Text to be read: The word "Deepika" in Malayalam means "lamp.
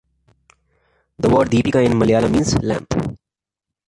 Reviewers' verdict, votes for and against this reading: rejected, 0, 2